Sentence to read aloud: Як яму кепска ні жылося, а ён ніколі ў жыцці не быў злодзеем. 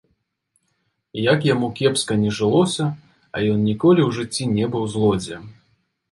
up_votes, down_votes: 0, 2